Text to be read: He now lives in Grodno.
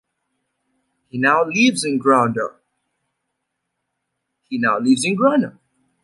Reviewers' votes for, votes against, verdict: 0, 2, rejected